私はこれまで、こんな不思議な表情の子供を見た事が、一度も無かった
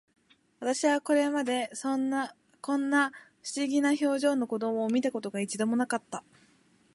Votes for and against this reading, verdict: 0, 3, rejected